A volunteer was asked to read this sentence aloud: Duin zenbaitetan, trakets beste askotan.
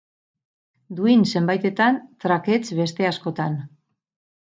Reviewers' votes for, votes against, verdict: 4, 0, accepted